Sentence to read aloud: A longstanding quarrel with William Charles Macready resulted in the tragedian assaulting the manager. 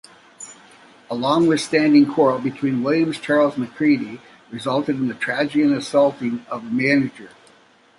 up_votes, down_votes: 1, 2